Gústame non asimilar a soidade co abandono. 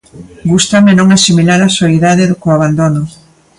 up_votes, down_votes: 2, 1